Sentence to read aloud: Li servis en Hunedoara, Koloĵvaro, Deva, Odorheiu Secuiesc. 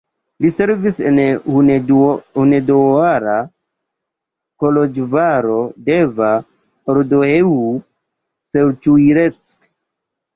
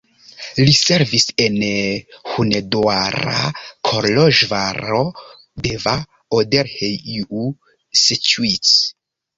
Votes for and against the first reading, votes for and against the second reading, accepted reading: 1, 2, 2, 1, second